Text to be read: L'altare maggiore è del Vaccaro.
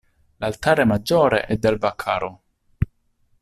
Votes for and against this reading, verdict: 2, 0, accepted